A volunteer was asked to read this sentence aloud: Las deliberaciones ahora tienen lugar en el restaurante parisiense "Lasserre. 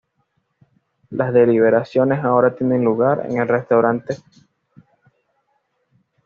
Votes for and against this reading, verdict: 1, 2, rejected